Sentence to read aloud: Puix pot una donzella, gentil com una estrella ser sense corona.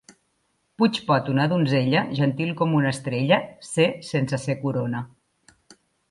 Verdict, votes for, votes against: rejected, 0, 2